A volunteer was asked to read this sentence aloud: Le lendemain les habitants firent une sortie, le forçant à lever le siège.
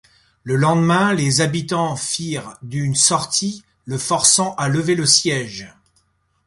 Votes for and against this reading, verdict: 1, 2, rejected